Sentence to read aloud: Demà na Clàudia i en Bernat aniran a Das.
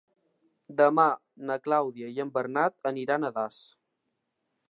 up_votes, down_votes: 2, 0